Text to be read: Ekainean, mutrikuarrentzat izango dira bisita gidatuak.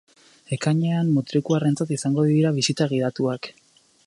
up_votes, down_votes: 2, 0